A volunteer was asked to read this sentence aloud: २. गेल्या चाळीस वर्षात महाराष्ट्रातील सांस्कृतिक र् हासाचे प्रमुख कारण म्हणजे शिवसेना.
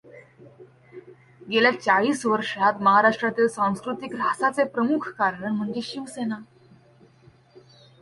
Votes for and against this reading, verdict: 0, 2, rejected